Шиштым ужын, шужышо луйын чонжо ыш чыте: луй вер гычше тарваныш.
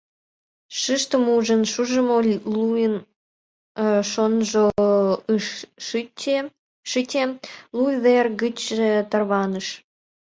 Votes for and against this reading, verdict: 1, 2, rejected